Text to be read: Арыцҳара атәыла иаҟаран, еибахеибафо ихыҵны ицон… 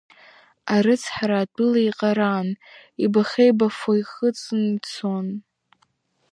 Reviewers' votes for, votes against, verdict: 2, 0, accepted